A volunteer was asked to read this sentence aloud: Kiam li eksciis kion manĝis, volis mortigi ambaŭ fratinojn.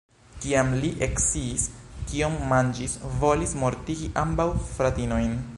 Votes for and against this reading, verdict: 2, 1, accepted